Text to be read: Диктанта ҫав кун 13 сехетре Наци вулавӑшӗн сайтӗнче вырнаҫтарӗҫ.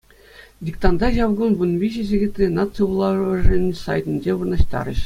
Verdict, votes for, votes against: rejected, 0, 2